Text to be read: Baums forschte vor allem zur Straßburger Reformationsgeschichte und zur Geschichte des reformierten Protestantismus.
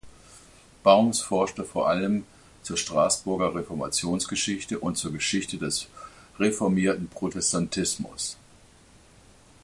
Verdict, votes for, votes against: accepted, 2, 0